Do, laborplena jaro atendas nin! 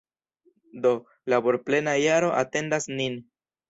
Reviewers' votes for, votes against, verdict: 2, 0, accepted